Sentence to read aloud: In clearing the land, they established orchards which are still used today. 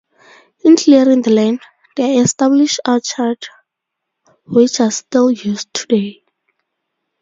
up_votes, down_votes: 2, 2